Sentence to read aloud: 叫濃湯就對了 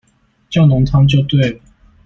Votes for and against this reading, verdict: 0, 2, rejected